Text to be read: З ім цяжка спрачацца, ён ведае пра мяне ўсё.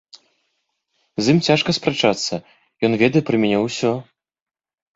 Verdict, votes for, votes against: accepted, 2, 0